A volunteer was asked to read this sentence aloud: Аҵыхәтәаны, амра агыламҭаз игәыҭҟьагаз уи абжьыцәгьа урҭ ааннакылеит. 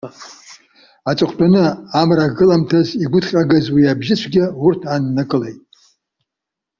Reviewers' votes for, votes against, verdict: 1, 2, rejected